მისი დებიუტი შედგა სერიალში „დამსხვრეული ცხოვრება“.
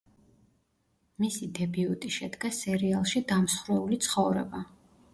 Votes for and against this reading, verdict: 2, 1, accepted